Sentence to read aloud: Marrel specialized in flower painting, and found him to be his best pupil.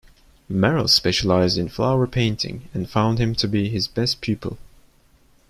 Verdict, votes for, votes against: accepted, 2, 0